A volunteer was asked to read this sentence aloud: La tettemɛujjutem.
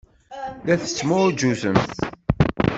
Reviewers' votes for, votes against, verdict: 0, 2, rejected